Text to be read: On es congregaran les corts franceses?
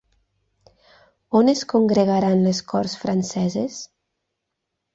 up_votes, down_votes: 9, 0